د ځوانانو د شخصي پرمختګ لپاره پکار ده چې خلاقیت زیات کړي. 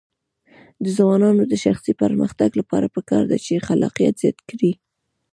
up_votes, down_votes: 1, 2